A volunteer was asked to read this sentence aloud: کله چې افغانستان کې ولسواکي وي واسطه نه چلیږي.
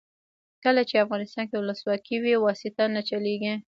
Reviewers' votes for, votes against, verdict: 0, 2, rejected